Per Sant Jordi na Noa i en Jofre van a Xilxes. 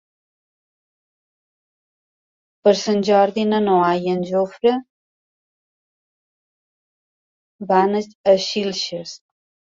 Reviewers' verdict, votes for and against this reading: rejected, 0, 2